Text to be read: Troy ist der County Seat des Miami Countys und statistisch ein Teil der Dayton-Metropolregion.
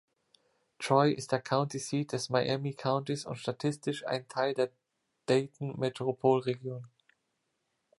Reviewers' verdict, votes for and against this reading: accepted, 2, 0